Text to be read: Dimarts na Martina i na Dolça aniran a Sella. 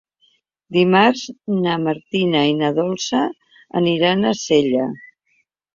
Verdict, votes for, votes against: accepted, 3, 0